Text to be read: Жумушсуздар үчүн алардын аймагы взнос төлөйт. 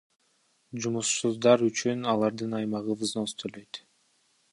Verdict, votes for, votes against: rejected, 0, 2